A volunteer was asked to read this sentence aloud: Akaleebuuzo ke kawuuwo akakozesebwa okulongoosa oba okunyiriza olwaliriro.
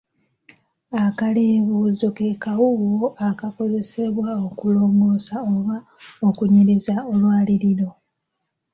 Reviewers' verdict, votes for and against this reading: accepted, 2, 0